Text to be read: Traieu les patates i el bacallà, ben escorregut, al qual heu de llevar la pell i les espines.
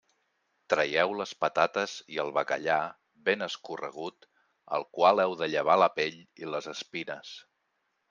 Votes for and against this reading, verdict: 2, 0, accepted